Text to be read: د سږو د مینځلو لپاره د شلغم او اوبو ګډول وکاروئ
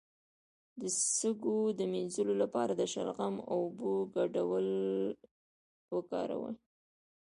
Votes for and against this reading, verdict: 0, 2, rejected